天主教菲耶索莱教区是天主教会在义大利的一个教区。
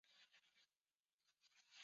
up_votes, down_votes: 4, 3